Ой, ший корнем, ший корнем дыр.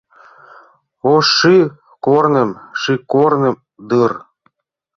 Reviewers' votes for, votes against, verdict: 0, 2, rejected